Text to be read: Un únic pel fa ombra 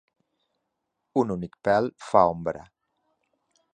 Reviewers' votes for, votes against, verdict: 2, 0, accepted